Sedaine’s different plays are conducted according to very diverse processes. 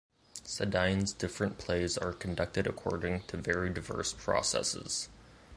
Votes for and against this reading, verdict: 2, 0, accepted